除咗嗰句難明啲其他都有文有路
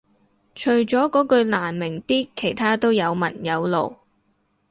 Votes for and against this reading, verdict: 4, 0, accepted